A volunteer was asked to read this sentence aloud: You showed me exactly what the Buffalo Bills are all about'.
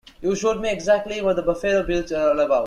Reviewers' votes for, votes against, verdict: 2, 1, accepted